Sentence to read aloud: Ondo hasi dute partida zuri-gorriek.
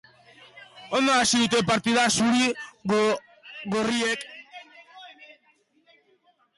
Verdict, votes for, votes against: rejected, 0, 2